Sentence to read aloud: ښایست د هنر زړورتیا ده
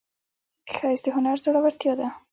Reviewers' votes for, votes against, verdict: 0, 2, rejected